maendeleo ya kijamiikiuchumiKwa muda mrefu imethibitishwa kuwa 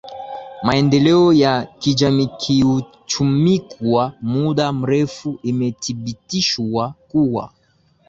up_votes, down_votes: 2, 1